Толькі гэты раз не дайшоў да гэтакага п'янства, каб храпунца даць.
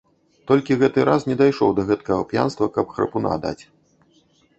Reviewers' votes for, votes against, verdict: 1, 2, rejected